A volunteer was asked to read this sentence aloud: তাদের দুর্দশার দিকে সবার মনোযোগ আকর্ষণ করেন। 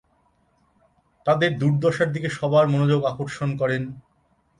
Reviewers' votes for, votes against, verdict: 2, 0, accepted